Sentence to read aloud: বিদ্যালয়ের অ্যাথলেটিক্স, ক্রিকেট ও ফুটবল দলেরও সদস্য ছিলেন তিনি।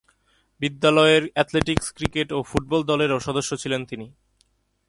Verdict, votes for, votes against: accepted, 2, 0